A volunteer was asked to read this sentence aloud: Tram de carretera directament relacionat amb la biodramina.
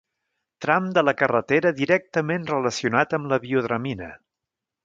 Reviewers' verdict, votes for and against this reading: rejected, 1, 2